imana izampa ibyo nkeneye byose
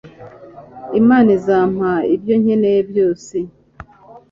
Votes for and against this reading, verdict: 3, 0, accepted